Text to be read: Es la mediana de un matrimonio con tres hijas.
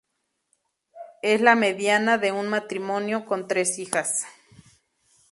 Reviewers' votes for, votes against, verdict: 0, 2, rejected